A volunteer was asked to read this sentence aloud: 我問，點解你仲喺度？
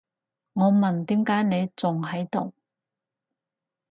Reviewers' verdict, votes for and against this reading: accepted, 4, 0